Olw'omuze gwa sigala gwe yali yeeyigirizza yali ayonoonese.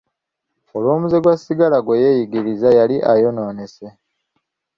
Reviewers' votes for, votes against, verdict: 0, 2, rejected